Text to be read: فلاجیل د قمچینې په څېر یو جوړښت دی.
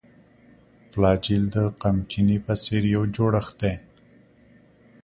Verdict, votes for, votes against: accepted, 2, 0